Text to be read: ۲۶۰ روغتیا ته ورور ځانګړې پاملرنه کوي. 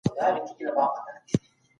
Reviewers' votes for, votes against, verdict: 0, 2, rejected